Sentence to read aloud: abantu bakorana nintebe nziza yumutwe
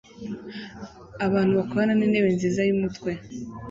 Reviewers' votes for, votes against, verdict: 2, 0, accepted